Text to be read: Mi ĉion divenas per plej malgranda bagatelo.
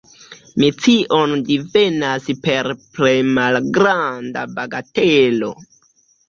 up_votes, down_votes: 1, 2